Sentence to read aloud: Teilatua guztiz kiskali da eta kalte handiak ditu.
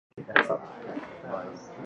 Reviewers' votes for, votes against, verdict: 0, 3, rejected